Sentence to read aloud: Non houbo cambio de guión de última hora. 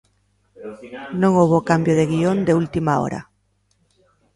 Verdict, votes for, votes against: rejected, 0, 2